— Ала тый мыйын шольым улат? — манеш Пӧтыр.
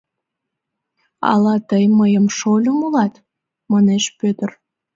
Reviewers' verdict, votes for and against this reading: rejected, 0, 2